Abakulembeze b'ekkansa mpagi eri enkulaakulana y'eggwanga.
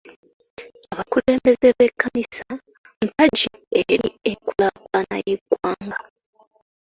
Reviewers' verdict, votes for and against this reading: rejected, 0, 2